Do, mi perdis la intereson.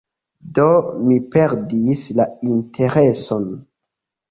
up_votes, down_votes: 1, 2